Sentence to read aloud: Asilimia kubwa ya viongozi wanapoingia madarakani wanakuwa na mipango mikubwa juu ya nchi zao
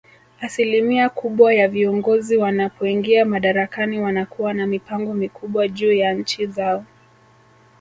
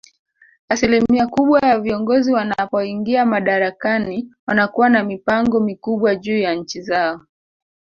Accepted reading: first